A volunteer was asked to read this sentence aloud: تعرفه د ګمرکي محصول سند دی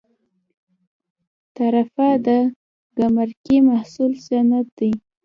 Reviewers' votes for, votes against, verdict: 2, 0, accepted